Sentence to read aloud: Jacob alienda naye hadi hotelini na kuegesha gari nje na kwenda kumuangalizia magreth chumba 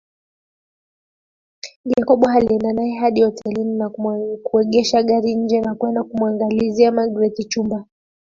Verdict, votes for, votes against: accepted, 2, 0